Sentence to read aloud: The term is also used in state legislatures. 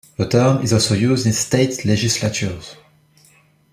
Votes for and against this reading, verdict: 1, 2, rejected